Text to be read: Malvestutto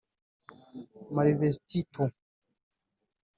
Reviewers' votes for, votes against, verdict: 0, 2, rejected